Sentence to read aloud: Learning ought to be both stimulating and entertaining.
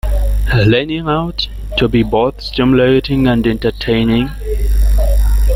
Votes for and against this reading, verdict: 0, 2, rejected